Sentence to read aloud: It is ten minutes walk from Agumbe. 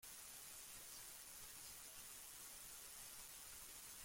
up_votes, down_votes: 0, 2